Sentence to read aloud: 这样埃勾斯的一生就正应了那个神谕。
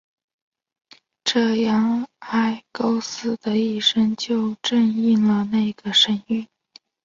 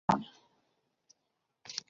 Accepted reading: first